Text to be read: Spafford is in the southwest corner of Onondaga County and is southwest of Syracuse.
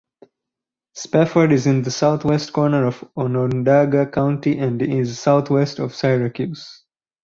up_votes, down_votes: 2, 2